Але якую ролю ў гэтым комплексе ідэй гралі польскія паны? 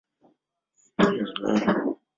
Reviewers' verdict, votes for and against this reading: rejected, 0, 2